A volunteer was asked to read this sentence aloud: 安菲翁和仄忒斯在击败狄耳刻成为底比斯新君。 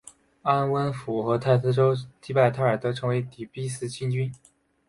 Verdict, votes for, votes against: rejected, 0, 2